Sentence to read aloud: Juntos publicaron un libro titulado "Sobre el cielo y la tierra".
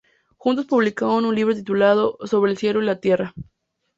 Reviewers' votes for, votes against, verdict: 2, 0, accepted